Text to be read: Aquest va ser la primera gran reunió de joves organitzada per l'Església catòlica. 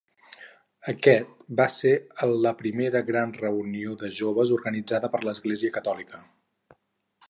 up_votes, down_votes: 0, 4